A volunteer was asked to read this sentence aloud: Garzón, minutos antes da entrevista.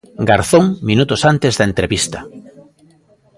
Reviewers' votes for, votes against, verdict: 2, 0, accepted